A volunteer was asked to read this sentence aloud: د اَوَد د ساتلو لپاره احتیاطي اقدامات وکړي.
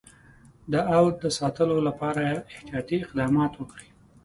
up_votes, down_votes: 2, 0